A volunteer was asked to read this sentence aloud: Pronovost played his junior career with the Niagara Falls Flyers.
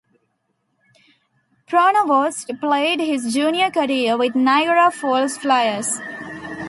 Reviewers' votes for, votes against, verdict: 0, 2, rejected